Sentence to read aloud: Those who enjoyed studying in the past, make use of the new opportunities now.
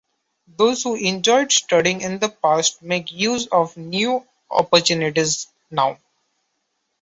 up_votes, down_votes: 0, 2